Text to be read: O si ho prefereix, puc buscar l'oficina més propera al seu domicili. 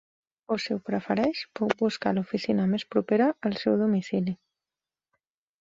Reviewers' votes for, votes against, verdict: 4, 1, accepted